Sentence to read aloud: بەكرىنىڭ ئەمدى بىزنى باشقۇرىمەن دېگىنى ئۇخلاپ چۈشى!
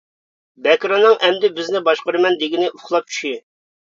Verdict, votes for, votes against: accepted, 2, 0